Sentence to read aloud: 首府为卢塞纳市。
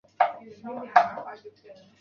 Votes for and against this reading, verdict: 0, 2, rejected